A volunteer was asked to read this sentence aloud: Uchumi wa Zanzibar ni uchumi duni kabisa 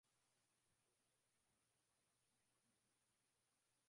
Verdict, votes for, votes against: rejected, 0, 3